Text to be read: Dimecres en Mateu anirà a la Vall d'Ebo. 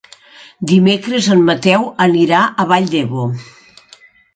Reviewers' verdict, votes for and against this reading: rejected, 1, 3